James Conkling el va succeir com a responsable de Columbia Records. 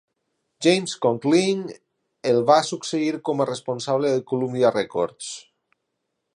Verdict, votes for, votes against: accepted, 2, 1